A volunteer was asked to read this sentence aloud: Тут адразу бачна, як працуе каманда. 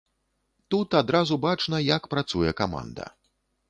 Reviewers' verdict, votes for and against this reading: accepted, 2, 0